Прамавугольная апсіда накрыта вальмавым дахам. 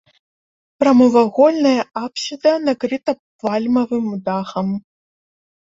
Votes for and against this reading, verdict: 0, 2, rejected